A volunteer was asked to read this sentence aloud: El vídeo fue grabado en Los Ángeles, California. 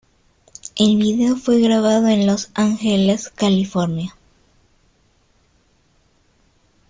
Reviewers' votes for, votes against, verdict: 2, 1, accepted